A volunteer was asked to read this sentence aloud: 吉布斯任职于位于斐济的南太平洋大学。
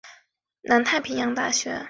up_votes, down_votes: 0, 2